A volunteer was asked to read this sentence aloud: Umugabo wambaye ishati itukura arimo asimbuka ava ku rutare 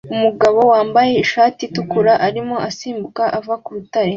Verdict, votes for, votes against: accepted, 2, 0